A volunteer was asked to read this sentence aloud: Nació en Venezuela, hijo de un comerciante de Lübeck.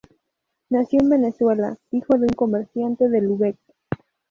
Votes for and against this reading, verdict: 4, 4, rejected